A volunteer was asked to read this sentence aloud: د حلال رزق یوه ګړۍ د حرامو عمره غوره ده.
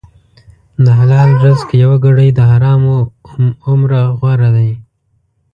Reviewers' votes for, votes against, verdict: 1, 2, rejected